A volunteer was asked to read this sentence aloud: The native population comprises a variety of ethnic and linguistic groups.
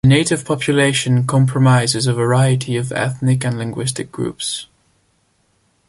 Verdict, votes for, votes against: rejected, 0, 2